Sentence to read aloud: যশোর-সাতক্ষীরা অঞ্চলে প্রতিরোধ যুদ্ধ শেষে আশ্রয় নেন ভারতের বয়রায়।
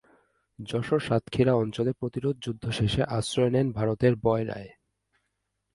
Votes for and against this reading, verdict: 2, 0, accepted